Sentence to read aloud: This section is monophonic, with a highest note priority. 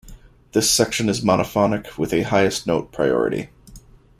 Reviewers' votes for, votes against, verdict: 2, 0, accepted